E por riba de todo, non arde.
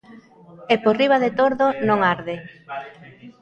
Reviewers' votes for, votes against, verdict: 0, 2, rejected